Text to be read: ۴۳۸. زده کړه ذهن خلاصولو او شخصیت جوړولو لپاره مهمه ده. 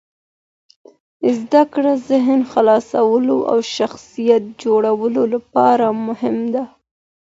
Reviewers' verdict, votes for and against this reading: rejected, 0, 2